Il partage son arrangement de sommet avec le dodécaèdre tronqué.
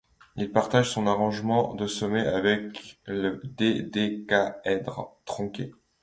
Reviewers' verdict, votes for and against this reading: rejected, 1, 2